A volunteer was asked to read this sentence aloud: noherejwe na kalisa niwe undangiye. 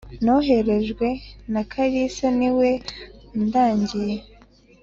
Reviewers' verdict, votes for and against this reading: accepted, 2, 0